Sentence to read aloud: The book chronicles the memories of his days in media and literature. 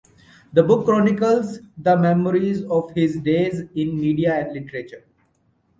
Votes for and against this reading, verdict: 2, 0, accepted